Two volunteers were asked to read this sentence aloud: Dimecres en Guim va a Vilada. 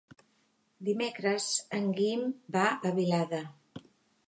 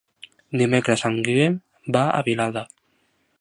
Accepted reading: first